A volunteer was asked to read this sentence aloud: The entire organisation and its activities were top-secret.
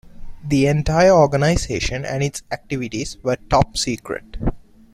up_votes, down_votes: 2, 0